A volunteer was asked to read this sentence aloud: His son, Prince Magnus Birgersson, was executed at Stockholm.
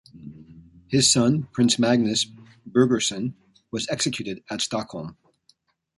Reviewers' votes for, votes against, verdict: 2, 0, accepted